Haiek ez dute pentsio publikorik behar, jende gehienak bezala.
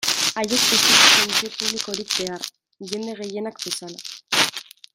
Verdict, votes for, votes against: rejected, 0, 2